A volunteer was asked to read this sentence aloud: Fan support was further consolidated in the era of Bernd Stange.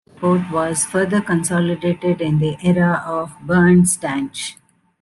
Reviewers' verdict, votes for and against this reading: rejected, 1, 2